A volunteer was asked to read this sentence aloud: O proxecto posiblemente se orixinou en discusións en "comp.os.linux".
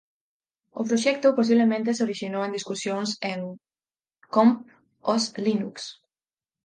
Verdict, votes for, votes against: accepted, 4, 0